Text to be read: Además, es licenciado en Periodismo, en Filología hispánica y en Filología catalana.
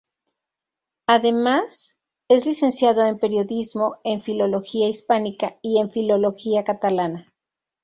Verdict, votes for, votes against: accepted, 2, 0